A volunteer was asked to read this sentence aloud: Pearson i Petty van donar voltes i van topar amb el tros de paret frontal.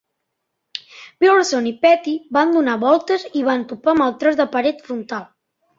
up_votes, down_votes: 2, 0